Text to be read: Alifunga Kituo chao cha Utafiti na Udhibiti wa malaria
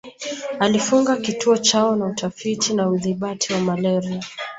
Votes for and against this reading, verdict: 2, 4, rejected